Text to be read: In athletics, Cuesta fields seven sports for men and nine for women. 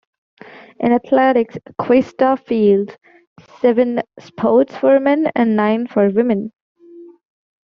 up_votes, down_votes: 2, 1